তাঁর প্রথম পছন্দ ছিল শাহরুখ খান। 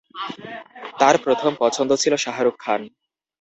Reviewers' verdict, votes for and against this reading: rejected, 0, 2